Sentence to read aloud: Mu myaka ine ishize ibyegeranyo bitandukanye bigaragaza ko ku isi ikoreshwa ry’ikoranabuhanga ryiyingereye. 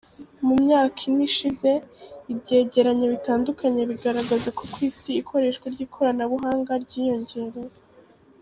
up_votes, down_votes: 2, 0